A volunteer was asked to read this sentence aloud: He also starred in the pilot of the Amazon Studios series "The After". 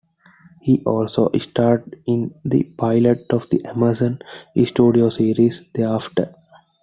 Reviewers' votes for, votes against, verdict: 2, 0, accepted